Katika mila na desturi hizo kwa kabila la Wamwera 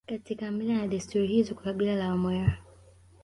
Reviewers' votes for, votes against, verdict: 2, 1, accepted